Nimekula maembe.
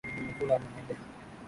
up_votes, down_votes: 2, 9